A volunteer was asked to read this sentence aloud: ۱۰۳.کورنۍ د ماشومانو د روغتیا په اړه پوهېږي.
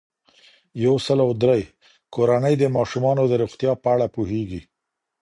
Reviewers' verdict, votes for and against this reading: rejected, 0, 2